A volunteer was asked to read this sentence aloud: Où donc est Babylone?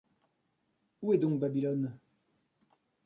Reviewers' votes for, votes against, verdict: 0, 2, rejected